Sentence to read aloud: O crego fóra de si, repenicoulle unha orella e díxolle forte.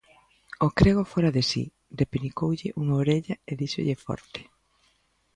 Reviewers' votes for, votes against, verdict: 2, 0, accepted